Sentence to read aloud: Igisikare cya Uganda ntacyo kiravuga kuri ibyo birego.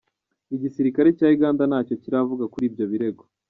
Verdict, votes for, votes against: accepted, 2, 0